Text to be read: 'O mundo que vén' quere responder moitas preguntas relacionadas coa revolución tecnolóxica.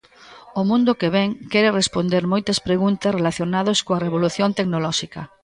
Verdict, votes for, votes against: rejected, 0, 2